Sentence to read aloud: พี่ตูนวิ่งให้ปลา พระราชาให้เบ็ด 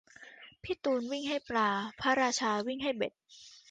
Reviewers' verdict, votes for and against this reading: rejected, 0, 2